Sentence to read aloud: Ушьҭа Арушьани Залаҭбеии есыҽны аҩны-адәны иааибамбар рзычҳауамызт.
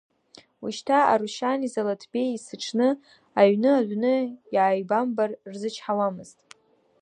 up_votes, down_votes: 2, 0